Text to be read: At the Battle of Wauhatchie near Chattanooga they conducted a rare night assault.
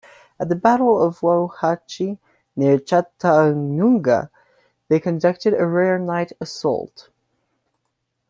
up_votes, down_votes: 1, 2